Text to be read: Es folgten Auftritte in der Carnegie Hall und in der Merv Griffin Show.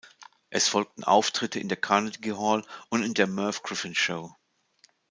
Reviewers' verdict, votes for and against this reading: rejected, 0, 2